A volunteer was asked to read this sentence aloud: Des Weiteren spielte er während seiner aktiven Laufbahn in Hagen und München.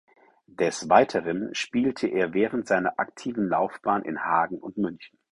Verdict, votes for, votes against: accepted, 4, 0